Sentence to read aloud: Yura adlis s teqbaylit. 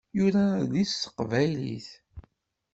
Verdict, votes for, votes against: accepted, 2, 0